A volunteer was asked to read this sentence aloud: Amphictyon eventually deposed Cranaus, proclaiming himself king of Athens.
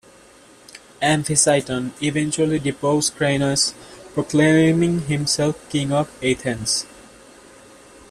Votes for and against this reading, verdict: 1, 2, rejected